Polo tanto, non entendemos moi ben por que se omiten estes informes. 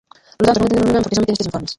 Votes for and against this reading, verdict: 0, 2, rejected